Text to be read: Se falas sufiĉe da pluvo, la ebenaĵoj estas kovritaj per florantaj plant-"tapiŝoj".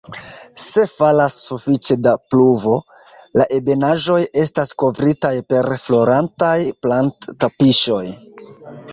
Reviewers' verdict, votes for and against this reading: rejected, 0, 2